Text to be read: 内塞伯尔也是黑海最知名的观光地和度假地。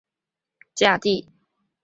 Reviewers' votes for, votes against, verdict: 0, 4, rejected